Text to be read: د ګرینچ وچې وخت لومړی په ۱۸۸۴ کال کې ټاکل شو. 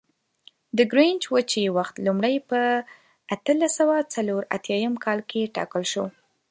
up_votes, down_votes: 0, 2